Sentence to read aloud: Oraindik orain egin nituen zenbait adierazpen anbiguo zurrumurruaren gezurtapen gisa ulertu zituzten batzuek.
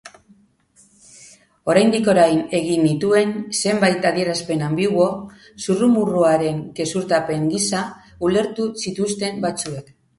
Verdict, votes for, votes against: accepted, 2, 0